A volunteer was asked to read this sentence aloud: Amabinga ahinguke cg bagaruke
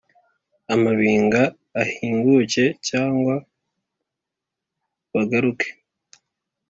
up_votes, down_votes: 2, 0